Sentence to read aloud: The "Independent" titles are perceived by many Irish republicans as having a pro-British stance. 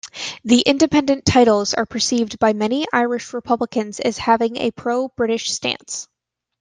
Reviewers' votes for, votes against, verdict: 2, 0, accepted